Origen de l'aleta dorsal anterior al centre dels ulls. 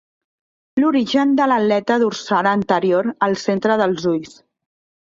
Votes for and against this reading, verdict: 2, 3, rejected